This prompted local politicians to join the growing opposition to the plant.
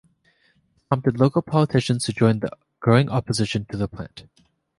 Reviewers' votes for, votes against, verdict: 1, 2, rejected